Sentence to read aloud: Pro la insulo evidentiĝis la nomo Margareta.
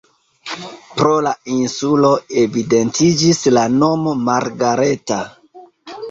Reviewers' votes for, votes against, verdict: 2, 0, accepted